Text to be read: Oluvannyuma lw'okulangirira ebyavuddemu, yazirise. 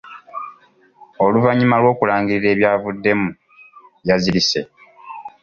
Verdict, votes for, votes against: accepted, 2, 0